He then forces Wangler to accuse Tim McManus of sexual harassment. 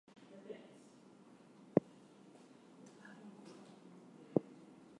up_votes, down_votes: 0, 2